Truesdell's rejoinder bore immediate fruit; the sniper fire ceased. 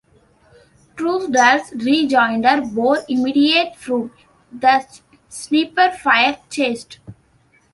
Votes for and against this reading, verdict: 0, 2, rejected